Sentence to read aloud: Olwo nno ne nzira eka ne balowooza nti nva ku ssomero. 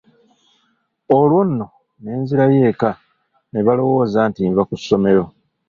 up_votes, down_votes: 1, 2